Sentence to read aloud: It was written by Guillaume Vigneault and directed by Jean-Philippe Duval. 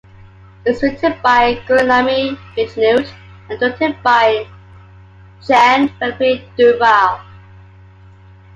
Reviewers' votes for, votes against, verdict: 0, 2, rejected